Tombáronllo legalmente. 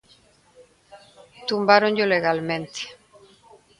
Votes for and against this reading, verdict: 1, 2, rejected